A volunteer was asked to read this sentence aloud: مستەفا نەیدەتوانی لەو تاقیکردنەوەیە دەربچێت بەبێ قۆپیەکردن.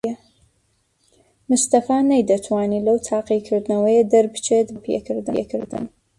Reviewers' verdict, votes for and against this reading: rejected, 0, 2